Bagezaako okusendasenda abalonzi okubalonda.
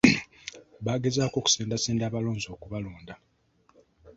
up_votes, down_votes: 2, 0